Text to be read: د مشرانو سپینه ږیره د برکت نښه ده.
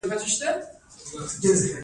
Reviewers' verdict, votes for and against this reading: accepted, 2, 0